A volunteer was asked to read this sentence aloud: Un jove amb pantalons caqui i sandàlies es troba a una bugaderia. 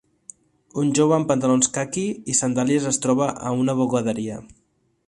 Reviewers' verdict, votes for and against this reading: accepted, 2, 0